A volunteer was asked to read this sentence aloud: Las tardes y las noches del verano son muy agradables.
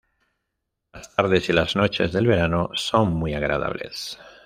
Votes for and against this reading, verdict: 2, 0, accepted